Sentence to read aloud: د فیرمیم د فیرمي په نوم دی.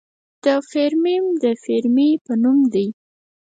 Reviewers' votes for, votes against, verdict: 2, 4, rejected